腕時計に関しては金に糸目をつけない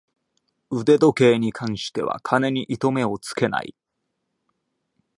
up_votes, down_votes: 2, 0